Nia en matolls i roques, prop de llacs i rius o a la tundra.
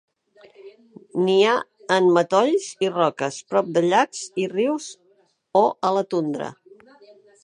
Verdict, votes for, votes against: accepted, 2, 0